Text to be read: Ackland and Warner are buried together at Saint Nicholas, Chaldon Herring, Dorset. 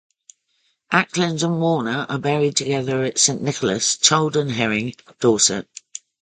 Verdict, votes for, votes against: rejected, 0, 2